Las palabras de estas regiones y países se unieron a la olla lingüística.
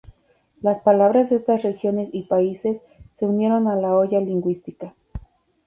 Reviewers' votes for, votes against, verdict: 2, 0, accepted